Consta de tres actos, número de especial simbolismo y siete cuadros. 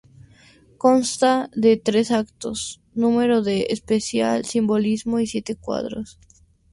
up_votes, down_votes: 2, 0